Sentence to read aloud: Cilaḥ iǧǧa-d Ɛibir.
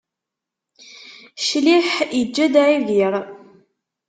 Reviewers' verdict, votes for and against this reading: rejected, 1, 2